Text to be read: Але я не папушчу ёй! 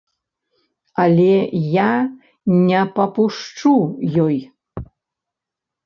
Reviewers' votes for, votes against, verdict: 0, 2, rejected